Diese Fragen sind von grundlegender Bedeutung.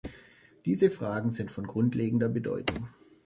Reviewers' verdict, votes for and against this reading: accepted, 2, 0